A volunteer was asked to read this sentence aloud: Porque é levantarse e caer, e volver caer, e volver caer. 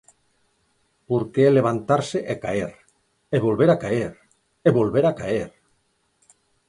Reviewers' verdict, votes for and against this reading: rejected, 0, 4